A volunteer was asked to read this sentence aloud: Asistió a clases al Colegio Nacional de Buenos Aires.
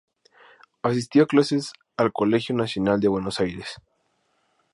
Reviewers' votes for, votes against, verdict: 2, 0, accepted